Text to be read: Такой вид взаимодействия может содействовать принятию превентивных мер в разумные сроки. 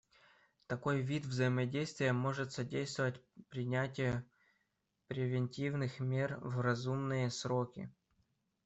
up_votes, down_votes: 2, 0